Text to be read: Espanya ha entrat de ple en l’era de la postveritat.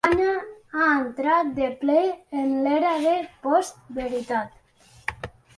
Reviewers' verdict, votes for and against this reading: rejected, 0, 2